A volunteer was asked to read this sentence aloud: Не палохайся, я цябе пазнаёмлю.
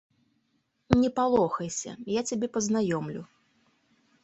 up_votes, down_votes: 2, 0